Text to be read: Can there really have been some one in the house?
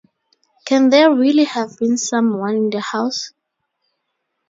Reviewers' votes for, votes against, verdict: 2, 2, rejected